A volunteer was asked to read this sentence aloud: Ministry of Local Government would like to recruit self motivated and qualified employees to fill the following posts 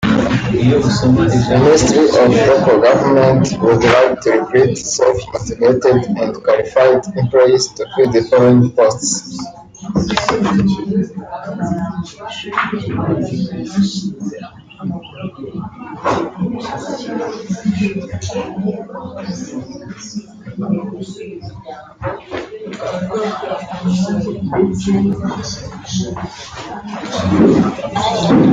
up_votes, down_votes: 0, 2